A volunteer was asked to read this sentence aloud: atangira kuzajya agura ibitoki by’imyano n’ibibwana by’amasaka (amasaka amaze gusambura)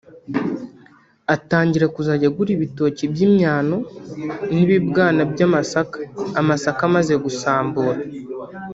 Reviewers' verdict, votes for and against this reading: rejected, 1, 2